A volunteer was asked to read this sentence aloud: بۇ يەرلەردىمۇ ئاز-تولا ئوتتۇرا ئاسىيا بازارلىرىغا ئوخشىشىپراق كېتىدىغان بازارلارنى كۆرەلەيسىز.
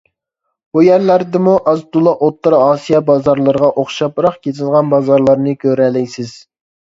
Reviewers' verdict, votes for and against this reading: rejected, 0, 2